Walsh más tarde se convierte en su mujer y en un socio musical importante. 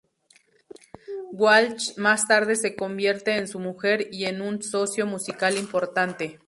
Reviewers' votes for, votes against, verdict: 4, 0, accepted